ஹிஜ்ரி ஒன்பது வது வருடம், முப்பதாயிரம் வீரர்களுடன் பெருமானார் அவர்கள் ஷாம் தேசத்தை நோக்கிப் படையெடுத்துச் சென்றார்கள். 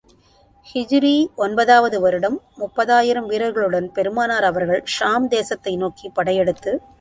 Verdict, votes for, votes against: rejected, 0, 2